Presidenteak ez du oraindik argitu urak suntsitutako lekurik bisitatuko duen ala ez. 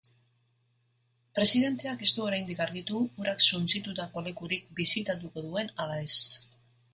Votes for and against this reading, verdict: 2, 0, accepted